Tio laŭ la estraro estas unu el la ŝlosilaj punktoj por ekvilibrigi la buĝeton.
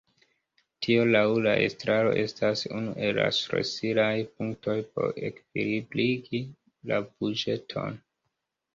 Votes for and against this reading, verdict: 1, 2, rejected